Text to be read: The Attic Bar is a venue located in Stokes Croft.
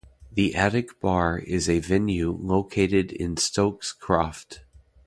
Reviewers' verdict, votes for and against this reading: rejected, 0, 2